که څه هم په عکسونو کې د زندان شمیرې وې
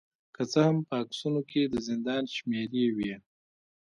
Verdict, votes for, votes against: rejected, 0, 2